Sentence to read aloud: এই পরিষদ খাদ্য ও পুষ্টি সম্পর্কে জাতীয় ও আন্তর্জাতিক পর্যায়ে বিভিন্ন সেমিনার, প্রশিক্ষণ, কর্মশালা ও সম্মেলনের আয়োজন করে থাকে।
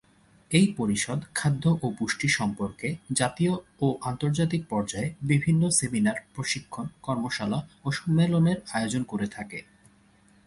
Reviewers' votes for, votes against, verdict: 8, 0, accepted